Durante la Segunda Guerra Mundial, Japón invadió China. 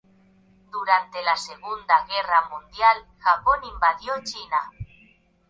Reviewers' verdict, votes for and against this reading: rejected, 1, 2